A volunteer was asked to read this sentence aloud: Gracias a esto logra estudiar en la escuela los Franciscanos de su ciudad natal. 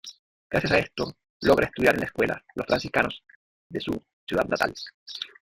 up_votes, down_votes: 0, 2